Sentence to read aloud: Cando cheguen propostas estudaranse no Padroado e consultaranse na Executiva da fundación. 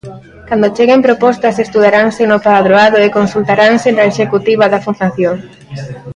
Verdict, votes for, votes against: accepted, 2, 0